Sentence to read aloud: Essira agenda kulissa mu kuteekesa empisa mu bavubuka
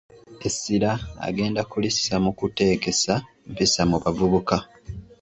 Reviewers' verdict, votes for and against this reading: accepted, 2, 0